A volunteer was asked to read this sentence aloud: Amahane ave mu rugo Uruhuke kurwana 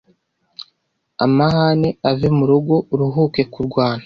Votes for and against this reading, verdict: 1, 2, rejected